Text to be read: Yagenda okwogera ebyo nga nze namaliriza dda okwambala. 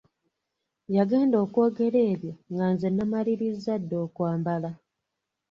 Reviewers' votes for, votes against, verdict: 2, 0, accepted